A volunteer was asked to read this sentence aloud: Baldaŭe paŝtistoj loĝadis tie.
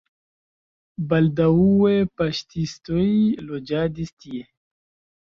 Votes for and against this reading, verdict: 1, 2, rejected